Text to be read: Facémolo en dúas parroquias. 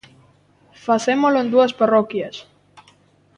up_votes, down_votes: 2, 0